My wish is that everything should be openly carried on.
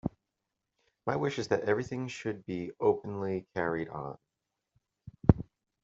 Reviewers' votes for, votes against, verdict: 2, 0, accepted